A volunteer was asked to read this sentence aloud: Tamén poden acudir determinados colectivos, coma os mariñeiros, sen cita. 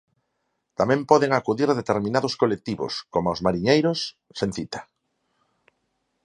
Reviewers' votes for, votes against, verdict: 4, 0, accepted